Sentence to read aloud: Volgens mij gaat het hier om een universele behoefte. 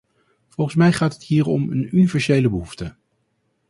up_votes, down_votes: 2, 2